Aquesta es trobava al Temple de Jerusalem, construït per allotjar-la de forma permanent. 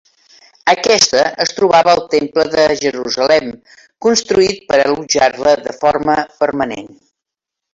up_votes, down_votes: 0, 2